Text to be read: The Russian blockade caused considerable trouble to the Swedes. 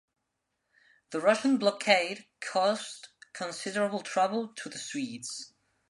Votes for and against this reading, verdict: 2, 0, accepted